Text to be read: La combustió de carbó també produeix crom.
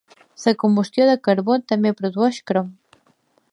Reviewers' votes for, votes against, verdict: 1, 2, rejected